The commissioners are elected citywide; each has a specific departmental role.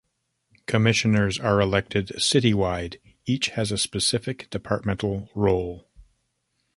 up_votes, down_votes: 0, 3